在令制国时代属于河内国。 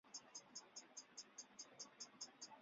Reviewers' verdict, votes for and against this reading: rejected, 0, 2